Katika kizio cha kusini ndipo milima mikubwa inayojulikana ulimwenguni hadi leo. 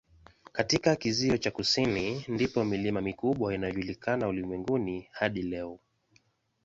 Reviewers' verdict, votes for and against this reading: accepted, 2, 0